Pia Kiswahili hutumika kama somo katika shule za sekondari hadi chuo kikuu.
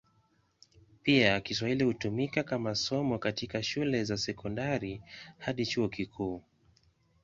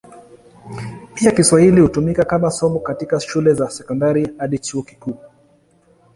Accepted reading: first